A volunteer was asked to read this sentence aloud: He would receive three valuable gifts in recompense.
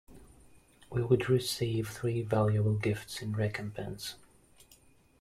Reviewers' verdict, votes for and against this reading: rejected, 0, 2